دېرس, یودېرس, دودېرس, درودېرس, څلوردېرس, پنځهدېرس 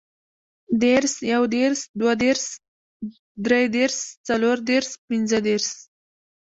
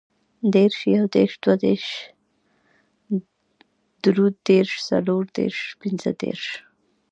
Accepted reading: second